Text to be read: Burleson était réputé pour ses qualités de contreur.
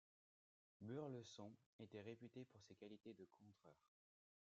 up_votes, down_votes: 2, 0